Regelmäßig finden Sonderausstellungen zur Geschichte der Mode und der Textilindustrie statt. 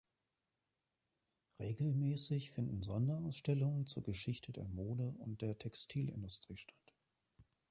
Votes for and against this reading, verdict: 0, 2, rejected